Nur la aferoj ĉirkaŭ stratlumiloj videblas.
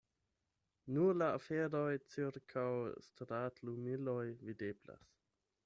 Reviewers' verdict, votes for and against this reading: rejected, 0, 8